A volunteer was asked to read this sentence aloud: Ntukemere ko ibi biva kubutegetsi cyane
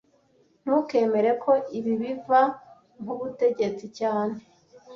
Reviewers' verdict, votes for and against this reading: accepted, 2, 0